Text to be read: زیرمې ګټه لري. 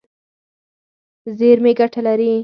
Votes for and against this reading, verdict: 6, 0, accepted